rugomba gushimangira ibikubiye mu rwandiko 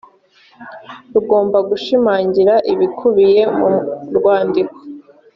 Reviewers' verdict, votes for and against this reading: accepted, 2, 0